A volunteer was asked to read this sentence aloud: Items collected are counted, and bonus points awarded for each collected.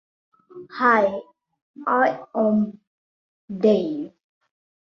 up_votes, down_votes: 0, 2